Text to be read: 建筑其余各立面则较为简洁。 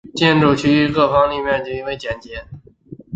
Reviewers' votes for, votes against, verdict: 3, 2, accepted